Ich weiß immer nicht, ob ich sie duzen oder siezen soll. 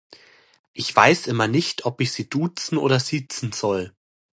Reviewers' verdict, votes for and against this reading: accepted, 2, 0